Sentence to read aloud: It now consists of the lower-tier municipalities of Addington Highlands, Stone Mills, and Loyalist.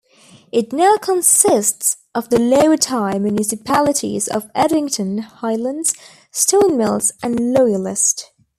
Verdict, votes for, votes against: accepted, 2, 1